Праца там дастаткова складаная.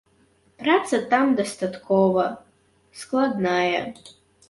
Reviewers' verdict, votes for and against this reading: rejected, 0, 2